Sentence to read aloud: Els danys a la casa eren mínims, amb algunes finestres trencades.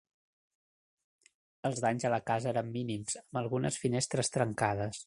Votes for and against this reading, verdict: 3, 0, accepted